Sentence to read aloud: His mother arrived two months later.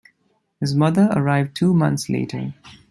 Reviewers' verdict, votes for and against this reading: accepted, 2, 0